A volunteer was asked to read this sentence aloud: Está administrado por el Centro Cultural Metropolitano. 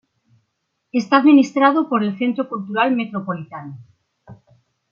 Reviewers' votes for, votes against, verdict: 2, 0, accepted